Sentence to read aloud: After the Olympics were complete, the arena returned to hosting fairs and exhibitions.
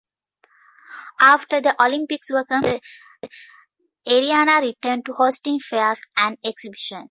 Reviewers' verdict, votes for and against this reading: rejected, 0, 2